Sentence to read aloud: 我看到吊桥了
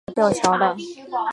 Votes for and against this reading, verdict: 0, 2, rejected